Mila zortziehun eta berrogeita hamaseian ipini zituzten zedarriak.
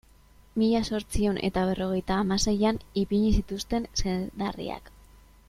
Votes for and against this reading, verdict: 2, 2, rejected